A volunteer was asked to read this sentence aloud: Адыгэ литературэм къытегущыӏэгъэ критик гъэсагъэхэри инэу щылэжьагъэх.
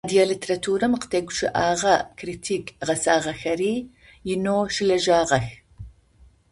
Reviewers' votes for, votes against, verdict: 0, 2, rejected